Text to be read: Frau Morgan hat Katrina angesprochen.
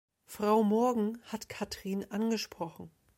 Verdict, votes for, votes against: rejected, 0, 2